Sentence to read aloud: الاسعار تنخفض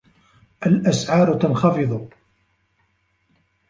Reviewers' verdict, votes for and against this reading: accepted, 2, 1